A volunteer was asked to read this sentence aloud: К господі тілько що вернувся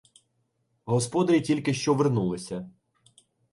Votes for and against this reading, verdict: 0, 2, rejected